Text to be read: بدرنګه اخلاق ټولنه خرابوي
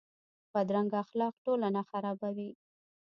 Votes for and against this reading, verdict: 1, 2, rejected